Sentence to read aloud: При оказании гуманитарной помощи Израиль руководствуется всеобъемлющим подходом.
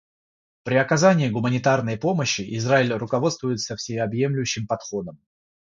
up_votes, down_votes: 3, 0